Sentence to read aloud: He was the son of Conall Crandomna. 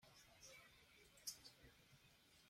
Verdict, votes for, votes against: rejected, 1, 2